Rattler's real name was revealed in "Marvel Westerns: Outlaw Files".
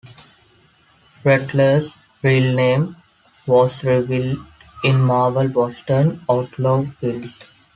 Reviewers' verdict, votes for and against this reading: rejected, 1, 2